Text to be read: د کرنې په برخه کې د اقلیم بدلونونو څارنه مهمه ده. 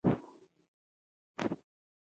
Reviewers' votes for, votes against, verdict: 3, 2, accepted